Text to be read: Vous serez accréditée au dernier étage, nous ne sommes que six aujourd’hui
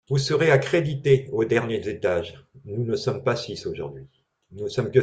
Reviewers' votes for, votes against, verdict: 0, 2, rejected